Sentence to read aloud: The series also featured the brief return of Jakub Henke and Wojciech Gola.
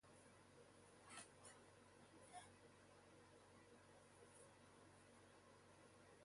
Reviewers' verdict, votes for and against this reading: rejected, 0, 2